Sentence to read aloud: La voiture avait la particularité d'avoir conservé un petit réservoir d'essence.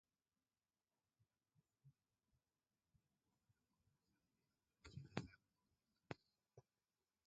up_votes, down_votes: 0, 2